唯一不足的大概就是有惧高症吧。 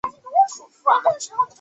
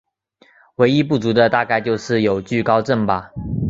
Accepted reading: second